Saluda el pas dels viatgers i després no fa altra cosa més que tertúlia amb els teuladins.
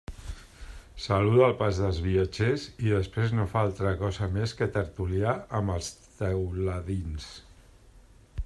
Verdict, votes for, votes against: rejected, 0, 2